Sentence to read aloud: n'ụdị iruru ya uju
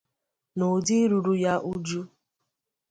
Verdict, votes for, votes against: accepted, 2, 0